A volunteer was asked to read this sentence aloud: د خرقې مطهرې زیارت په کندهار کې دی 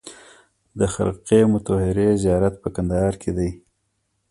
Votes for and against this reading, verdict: 1, 2, rejected